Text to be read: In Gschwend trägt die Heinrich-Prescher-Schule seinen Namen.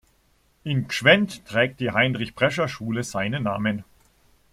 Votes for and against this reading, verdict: 2, 0, accepted